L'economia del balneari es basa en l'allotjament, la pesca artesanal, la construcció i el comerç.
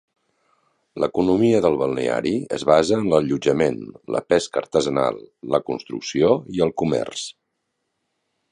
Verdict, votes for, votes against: accepted, 3, 0